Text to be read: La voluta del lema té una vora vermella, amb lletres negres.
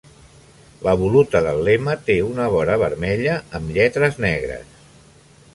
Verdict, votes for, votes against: accepted, 3, 0